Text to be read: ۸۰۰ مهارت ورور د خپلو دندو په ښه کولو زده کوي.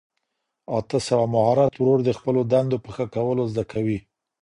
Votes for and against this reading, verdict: 0, 2, rejected